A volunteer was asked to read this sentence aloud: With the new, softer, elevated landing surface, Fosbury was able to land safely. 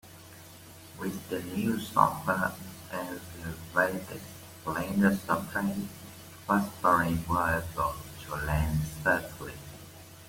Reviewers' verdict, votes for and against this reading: rejected, 0, 2